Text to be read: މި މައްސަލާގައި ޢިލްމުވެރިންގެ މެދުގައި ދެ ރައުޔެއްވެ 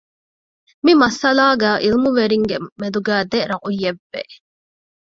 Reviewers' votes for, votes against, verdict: 1, 2, rejected